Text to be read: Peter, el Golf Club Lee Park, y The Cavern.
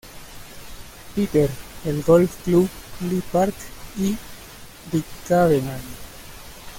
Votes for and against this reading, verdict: 1, 2, rejected